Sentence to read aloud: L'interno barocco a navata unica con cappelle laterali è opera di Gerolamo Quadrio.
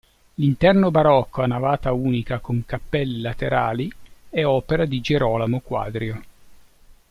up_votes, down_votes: 2, 0